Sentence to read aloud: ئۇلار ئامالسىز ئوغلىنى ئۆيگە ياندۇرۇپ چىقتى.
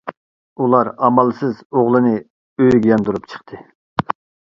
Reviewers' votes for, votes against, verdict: 2, 0, accepted